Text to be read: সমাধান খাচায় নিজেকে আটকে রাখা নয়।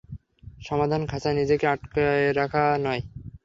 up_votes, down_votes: 3, 0